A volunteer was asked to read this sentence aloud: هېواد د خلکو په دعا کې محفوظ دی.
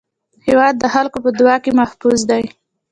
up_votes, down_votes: 2, 1